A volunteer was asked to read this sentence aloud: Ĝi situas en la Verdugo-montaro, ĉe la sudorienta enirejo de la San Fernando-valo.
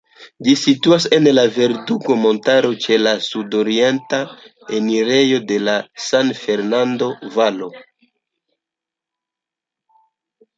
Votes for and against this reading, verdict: 2, 0, accepted